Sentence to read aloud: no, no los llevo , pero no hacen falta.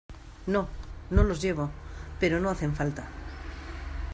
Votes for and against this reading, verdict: 2, 0, accepted